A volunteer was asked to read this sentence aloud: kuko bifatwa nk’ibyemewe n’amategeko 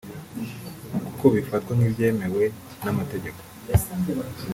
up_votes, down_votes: 0, 2